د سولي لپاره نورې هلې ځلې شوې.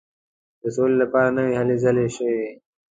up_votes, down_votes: 3, 0